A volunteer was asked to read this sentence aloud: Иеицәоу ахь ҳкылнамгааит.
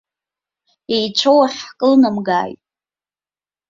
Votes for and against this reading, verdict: 3, 0, accepted